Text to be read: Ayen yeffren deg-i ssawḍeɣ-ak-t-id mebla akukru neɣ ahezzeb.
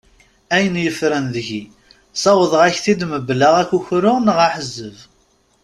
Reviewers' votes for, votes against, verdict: 2, 0, accepted